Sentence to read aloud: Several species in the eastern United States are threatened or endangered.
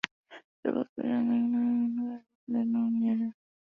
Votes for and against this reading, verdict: 0, 2, rejected